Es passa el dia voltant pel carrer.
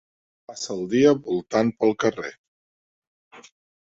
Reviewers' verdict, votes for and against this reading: rejected, 0, 2